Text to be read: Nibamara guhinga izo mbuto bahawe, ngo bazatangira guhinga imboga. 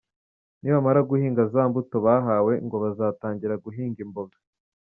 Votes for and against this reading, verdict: 1, 2, rejected